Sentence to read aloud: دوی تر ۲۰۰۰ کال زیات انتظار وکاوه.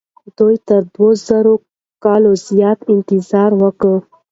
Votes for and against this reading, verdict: 0, 2, rejected